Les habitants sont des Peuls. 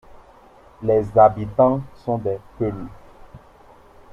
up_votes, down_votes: 2, 0